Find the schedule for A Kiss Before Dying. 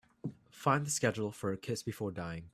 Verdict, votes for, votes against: accepted, 2, 1